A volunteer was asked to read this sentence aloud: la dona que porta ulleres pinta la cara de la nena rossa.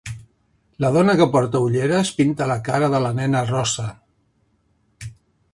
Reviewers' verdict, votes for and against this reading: rejected, 0, 2